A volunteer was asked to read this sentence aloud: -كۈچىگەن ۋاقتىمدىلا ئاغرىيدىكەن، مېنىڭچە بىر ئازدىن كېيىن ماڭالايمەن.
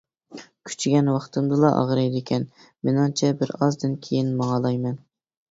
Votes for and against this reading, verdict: 2, 0, accepted